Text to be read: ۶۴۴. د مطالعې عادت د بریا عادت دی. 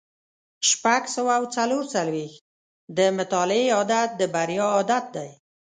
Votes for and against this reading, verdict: 0, 2, rejected